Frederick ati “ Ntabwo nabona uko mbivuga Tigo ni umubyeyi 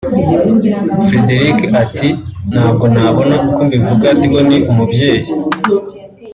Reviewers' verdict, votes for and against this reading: accepted, 3, 0